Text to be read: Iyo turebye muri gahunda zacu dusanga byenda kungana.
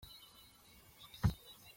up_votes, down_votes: 0, 3